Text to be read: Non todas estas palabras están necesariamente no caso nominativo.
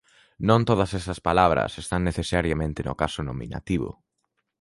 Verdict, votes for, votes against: rejected, 0, 2